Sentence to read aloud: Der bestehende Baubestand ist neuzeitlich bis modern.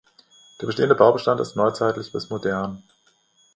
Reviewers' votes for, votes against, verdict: 2, 0, accepted